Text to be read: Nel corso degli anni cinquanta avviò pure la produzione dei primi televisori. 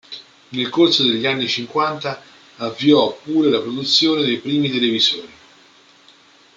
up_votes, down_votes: 2, 0